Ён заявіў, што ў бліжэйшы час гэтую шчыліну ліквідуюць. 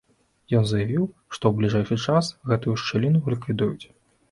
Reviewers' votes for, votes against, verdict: 2, 1, accepted